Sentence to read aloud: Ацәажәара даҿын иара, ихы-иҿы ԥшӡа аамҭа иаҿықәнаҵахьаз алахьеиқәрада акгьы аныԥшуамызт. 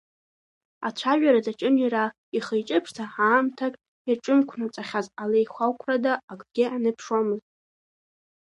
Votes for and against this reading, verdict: 2, 1, accepted